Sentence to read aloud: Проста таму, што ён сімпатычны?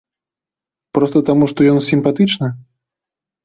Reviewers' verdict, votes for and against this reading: accepted, 2, 1